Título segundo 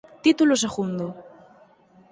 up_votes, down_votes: 4, 0